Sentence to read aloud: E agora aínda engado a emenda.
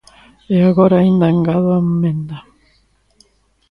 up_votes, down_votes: 1, 2